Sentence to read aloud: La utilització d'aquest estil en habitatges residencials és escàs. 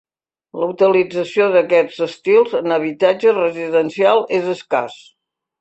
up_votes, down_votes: 2, 0